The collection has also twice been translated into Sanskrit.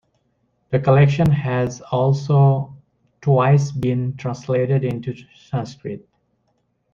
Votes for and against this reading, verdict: 2, 0, accepted